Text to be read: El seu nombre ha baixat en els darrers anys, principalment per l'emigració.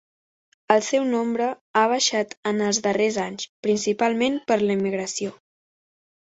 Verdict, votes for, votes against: accepted, 2, 0